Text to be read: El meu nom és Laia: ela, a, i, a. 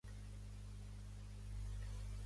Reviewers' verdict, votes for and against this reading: rejected, 1, 2